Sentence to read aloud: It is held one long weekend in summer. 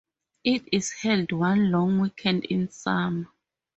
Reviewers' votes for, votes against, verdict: 0, 2, rejected